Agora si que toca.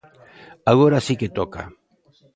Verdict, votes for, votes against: accepted, 2, 0